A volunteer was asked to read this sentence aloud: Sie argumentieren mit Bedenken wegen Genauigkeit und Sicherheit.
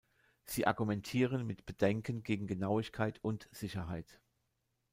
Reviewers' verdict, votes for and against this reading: rejected, 0, 2